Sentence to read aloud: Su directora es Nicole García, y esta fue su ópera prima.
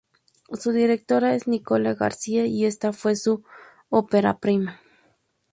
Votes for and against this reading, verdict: 2, 0, accepted